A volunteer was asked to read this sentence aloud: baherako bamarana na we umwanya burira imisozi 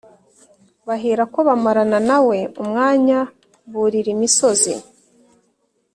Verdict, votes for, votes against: accepted, 2, 0